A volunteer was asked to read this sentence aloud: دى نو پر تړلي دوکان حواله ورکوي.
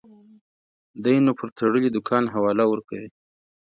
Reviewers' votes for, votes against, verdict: 4, 0, accepted